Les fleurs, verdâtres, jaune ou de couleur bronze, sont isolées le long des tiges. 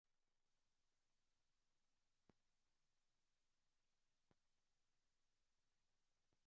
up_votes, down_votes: 0, 2